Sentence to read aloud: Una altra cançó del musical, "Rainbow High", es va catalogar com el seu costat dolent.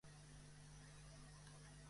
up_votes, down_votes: 0, 2